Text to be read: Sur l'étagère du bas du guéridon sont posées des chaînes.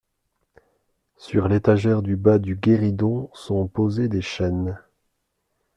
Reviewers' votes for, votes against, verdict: 2, 0, accepted